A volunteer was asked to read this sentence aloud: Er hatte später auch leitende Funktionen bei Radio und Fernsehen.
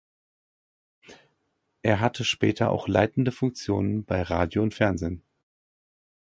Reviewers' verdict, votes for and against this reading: accepted, 2, 0